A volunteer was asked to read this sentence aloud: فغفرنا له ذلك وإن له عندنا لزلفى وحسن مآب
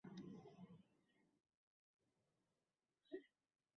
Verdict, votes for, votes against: rejected, 0, 2